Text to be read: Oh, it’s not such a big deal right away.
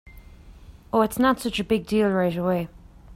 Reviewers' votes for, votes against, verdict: 2, 1, accepted